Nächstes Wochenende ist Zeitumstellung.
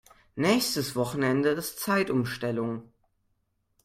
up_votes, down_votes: 2, 0